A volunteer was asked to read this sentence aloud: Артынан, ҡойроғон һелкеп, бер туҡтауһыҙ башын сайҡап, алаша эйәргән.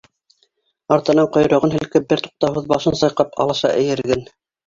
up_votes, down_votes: 2, 3